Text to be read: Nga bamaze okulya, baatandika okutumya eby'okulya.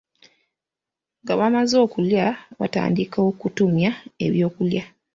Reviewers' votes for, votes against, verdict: 2, 0, accepted